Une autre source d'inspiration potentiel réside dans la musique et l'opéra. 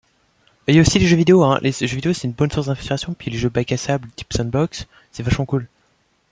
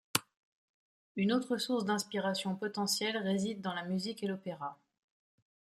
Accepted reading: second